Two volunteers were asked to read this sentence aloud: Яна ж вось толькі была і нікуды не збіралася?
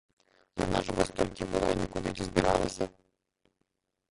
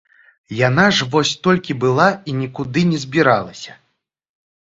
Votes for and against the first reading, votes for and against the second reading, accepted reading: 1, 2, 2, 0, second